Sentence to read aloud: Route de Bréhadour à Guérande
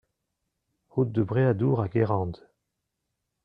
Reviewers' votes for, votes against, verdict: 2, 0, accepted